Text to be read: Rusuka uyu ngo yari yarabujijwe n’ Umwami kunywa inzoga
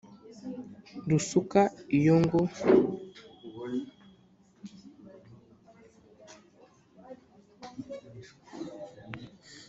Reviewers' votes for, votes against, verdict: 1, 2, rejected